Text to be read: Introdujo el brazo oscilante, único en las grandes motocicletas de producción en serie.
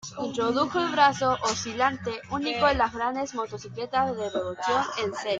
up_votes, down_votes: 2, 3